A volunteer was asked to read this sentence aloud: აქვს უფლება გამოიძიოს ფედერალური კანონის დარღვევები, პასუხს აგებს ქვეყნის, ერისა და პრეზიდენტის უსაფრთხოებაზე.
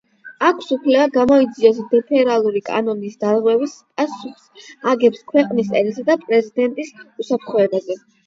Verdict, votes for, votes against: accepted, 8, 4